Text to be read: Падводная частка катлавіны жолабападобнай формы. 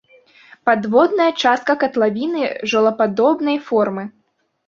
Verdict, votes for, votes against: rejected, 0, 2